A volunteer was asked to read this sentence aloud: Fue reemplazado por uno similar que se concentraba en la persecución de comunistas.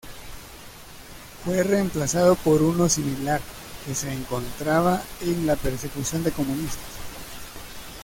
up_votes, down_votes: 1, 2